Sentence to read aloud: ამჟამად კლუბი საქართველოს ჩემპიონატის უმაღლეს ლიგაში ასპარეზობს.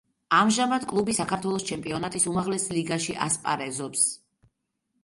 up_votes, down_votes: 2, 0